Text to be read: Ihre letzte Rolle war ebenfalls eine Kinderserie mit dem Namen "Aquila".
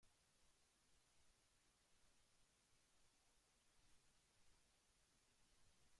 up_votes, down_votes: 0, 2